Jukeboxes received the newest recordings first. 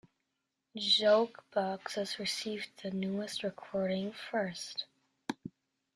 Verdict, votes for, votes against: rejected, 1, 3